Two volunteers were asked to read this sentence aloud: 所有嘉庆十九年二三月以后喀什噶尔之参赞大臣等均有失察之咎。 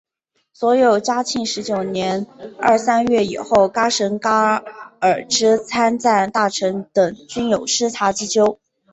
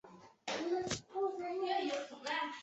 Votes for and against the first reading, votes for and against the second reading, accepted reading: 2, 0, 0, 2, first